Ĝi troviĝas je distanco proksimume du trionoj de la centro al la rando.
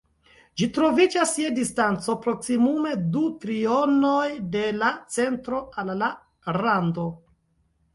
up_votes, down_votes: 1, 2